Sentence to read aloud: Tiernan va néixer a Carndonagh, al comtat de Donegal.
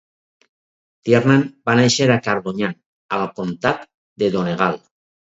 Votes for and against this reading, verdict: 0, 4, rejected